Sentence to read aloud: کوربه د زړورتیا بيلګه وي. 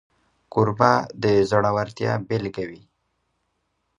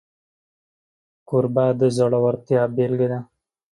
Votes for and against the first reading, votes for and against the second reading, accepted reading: 2, 0, 0, 2, first